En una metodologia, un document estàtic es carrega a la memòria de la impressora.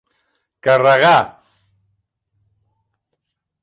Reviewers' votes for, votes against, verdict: 0, 3, rejected